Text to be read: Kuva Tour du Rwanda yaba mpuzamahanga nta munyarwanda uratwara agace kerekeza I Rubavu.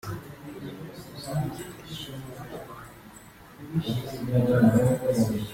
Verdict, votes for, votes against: rejected, 0, 2